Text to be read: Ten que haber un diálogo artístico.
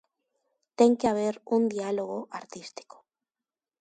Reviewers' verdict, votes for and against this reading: accepted, 2, 0